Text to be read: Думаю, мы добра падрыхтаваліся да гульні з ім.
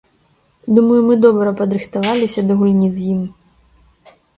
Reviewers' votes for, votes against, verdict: 2, 0, accepted